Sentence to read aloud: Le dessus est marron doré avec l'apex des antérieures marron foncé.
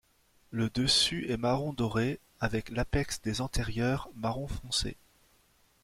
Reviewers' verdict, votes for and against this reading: accepted, 2, 0